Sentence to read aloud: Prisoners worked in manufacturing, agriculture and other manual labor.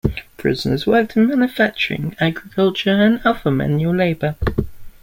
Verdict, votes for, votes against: accepted, 2, 0